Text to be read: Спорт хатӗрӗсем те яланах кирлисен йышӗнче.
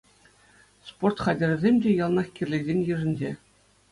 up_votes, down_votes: 2, 0